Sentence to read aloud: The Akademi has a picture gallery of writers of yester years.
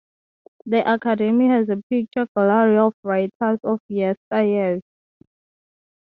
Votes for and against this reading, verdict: 2, 0, accepted